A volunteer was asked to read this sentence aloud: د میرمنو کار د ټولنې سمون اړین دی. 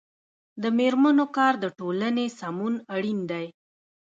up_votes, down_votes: 0, 2